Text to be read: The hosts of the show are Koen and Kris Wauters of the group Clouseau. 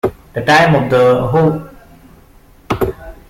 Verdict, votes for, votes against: rejected, 0, 2